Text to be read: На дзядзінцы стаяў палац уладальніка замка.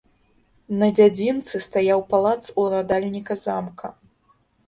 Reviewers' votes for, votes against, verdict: 2, 0, accepted